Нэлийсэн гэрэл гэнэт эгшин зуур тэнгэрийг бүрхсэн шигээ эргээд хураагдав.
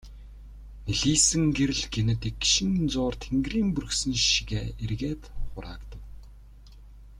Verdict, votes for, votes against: rejected, 0, 2